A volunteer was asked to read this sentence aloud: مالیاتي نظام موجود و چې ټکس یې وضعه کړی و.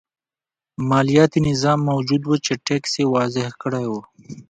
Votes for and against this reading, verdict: 2, 1, accepted